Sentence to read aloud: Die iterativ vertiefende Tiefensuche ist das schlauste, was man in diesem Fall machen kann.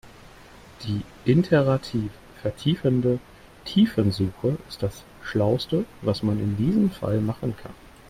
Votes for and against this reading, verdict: 0, 2, rejected